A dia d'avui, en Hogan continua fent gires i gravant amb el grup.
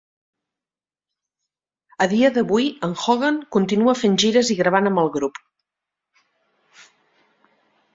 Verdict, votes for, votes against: accepted, 3, 0